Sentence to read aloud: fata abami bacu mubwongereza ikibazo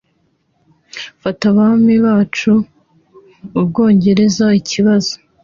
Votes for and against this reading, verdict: 2, 1, accepted